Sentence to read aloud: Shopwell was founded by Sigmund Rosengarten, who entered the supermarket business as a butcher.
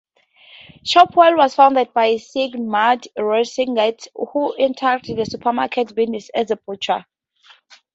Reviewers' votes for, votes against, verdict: 0, 2, rejected